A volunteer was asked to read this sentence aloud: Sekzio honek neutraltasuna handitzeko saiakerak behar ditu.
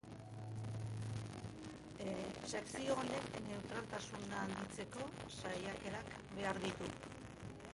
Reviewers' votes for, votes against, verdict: 3, 4, rejected